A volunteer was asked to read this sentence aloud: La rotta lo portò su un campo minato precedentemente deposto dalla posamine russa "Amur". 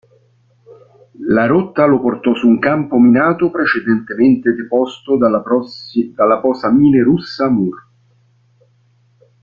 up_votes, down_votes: 1, 2